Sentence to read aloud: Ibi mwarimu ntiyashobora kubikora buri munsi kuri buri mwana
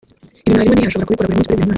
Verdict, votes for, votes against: rejected, 1, 2